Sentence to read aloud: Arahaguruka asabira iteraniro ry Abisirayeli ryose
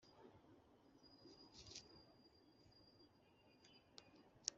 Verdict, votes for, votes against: rejected, 0, 2